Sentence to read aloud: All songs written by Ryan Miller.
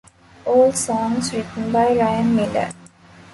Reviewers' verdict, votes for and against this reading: accepted, 2, 0